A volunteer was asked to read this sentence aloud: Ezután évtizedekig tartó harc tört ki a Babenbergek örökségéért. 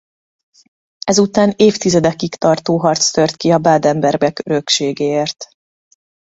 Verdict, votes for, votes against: rejected, 1, 2